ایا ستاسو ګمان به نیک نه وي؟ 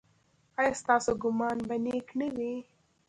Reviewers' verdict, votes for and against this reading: accepted, 2, 0